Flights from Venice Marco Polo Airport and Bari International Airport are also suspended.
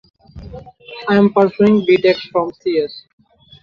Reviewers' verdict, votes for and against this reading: rejected, 0, 3